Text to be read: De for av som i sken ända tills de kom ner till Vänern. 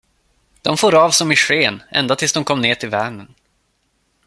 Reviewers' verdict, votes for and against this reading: accepted, 2, 0